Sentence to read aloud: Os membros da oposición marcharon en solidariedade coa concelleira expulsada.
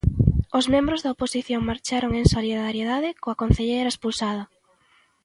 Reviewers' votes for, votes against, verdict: 2, 1, accepted